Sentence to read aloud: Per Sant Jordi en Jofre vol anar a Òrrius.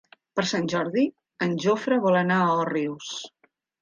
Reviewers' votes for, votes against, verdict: 3, 0, accepted